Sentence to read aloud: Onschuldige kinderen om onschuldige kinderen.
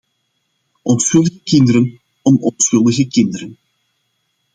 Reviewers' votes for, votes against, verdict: 2, 0, accepted